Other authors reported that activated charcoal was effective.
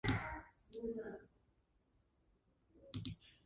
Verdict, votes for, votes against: rejected, 0, 2